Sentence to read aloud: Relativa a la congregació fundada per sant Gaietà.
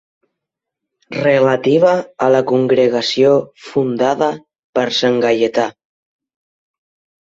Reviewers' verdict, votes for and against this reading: accepted, 8, 0